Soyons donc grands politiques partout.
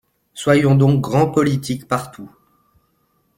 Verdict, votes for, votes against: accepted, 2, 0